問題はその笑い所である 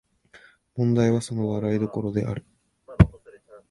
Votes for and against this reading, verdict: 1, 2, rejected